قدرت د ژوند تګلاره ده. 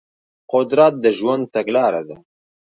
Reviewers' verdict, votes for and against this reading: accepted, 2, 0